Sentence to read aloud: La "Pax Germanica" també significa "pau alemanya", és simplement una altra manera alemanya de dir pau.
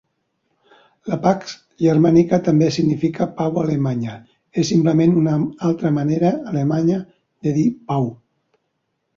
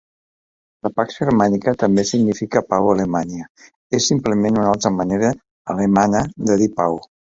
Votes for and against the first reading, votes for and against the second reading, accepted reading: 2, 1, 0, 2, first